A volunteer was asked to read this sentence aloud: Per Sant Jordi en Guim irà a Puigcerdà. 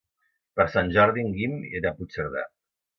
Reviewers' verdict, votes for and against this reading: accepted, 2, 0